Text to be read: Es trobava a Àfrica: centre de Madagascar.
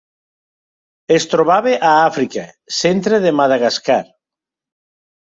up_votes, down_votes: 2, 0